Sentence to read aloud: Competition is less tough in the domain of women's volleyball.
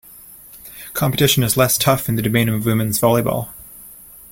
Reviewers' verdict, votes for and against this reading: accepted, 2, 1